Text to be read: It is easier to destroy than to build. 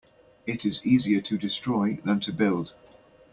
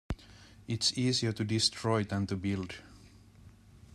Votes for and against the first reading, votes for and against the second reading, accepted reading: 2, 0, 0, 2, first